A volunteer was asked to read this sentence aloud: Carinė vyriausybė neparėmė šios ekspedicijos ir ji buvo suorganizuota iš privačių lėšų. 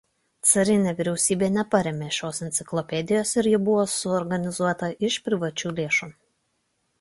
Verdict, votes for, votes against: rejected, 0, 2